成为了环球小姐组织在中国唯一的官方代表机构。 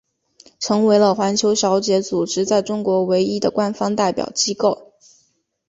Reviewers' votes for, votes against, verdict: 2, 0, accepted